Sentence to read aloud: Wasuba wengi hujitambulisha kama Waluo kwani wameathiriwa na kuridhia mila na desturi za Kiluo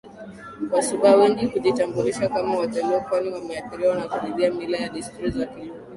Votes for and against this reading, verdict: 9, 3, accepted